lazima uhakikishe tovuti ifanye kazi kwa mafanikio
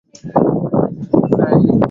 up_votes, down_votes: 1, 2